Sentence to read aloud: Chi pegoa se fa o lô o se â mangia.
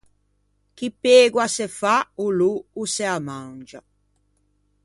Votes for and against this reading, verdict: 2, 0, accepted